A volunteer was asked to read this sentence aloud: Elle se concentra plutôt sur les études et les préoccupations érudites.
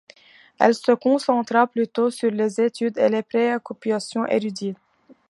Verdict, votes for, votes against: rejected, 0, 2